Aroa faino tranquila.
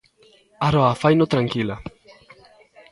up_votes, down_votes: 2, 0